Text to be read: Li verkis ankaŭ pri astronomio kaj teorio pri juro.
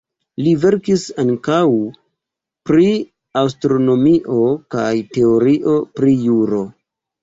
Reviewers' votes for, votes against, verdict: 2, 1, accepted